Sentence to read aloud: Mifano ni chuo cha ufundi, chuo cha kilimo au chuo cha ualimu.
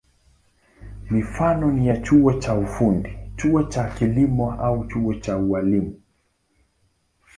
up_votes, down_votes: 2, 0